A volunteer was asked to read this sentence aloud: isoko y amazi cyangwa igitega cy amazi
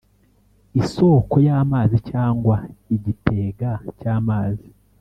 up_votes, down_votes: 2, 0